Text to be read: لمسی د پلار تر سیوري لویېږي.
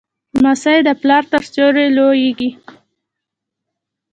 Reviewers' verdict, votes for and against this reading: rejected, 0, 2